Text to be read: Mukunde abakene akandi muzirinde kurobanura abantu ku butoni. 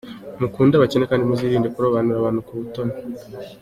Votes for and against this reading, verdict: 2, 0, accepted